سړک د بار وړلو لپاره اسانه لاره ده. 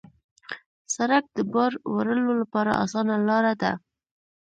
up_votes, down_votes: 1, 2